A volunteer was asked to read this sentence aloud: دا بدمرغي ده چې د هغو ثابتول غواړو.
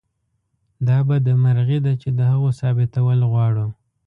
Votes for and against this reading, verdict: 2, 1, accepted